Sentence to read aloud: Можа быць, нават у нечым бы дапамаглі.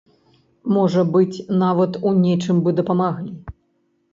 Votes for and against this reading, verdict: 0, 3, rejected